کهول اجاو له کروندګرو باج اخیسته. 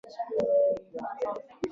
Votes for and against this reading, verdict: 0, 2, rejected